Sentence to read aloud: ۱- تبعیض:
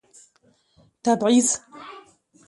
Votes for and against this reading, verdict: 0, 2, rejected